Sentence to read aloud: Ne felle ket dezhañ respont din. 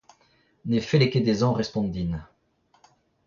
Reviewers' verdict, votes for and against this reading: accepted, 2, 1